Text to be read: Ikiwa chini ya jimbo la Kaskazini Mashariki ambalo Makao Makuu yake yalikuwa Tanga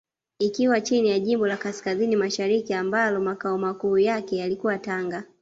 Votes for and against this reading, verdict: 2, 0, accepted